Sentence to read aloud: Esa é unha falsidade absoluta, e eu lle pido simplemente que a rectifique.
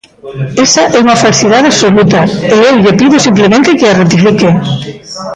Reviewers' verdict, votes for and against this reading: rejected, 1, 2